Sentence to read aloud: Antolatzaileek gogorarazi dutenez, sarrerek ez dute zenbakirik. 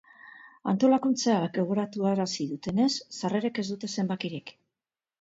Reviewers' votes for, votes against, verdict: 0, 2, rejected